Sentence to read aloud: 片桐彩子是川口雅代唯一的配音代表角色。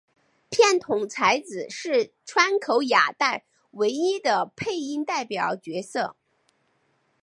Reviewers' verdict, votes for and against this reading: accepted, 4, 0